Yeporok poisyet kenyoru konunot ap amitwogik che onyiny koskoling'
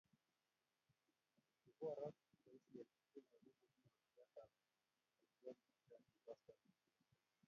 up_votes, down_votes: 1, 2